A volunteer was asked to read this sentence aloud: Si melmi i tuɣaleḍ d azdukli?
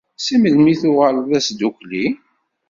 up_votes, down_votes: 2, 0